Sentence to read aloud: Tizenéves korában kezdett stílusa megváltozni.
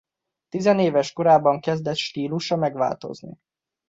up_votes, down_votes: 2, 0